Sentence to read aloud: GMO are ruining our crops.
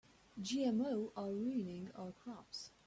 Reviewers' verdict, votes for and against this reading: accepted, 4, 0